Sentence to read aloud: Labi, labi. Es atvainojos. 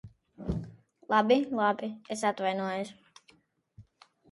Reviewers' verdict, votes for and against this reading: rejected, 0, 2